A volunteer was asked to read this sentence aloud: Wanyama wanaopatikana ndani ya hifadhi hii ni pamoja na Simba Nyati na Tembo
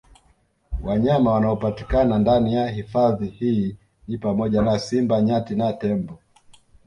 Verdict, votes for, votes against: rejected, 1, 2